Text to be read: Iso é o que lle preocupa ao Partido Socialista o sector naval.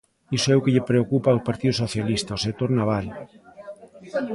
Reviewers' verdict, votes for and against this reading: rejected, 1, 2